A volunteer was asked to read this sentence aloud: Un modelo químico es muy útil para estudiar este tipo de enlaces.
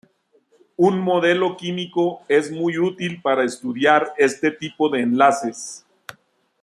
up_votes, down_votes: 2, 0